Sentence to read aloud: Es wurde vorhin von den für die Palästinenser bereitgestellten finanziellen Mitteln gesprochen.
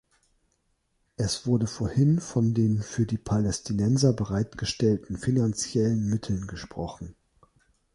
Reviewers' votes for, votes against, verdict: 3, 0, accepted